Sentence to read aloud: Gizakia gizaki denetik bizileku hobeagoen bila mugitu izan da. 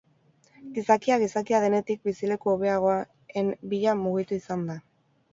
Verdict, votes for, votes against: rejected, 2, 2